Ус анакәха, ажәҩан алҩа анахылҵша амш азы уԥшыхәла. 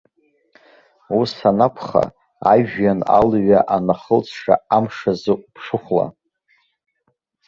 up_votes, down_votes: 2, 0